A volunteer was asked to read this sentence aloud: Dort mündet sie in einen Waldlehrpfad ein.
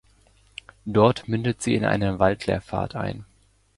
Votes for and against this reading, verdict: 1, 2, rejected